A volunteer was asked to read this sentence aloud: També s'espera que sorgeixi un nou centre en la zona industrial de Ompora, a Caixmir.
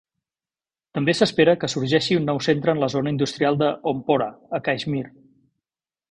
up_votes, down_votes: 3, 0